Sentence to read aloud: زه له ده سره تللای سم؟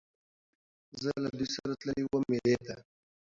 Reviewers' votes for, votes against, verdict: 0, 2, rejected